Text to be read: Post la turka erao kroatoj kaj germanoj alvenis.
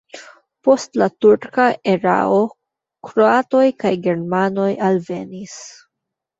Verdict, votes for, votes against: accepted, 2, 1